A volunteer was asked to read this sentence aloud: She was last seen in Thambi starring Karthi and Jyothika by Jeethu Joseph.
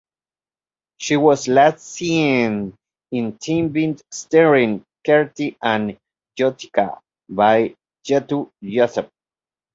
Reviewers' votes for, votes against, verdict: 0, 2, rejected